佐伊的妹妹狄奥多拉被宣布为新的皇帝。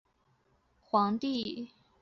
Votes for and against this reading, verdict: 0, 2, rejected